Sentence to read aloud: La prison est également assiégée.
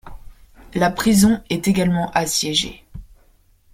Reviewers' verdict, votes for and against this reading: accepted, 2, 0